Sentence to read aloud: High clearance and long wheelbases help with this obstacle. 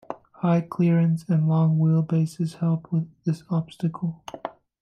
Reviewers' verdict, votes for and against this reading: accepted, 2, 0